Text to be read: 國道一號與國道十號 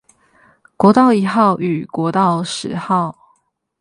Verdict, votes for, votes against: accepted, 8, 0